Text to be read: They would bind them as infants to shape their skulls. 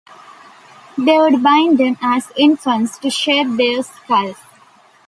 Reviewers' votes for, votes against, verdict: 2, 0, accepted